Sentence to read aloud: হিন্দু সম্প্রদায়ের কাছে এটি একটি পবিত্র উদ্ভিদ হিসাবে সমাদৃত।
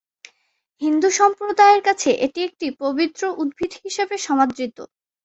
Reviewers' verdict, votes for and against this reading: accepted, 2, 0